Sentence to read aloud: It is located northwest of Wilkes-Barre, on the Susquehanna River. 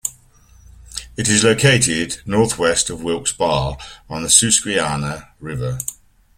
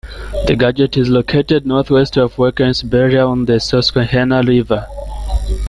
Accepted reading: first